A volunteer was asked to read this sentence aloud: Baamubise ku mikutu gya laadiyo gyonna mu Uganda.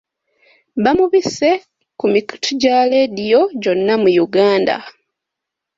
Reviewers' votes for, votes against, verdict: 2, 0, accepted